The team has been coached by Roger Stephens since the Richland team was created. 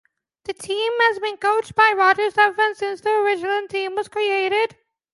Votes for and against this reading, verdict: 2, 0, accepted